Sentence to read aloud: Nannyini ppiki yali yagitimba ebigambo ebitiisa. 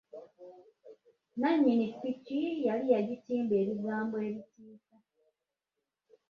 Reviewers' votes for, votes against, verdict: 0, 2, rejected